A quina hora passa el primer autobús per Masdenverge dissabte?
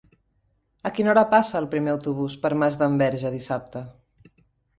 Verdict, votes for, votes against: accepted, 3, 0